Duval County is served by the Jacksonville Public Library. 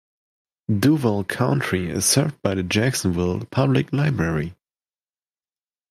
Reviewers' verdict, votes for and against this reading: accepted, 3, 2